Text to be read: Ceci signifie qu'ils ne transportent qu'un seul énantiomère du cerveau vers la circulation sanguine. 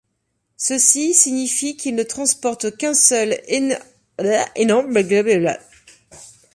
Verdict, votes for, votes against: rejected, 0, 2